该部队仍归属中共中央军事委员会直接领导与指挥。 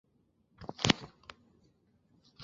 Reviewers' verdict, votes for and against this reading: rejected, 0, 5